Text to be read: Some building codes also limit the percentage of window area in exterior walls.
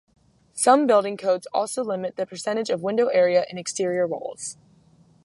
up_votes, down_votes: 2, 0